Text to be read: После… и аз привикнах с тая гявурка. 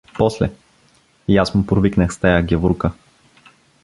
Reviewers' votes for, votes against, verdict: 1, 2, rejected